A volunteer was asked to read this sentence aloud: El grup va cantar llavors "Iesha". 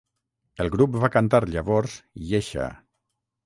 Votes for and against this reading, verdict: 6, 0, accepted